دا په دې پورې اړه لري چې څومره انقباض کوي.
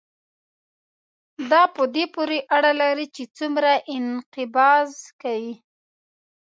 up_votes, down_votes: 2, 0